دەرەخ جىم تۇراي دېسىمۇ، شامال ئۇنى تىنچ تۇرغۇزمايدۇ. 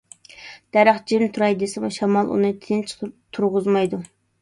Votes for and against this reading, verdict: 2, 1, accepted